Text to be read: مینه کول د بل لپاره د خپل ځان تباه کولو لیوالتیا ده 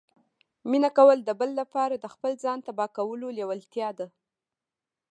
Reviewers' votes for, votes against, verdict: 1, 2, rejected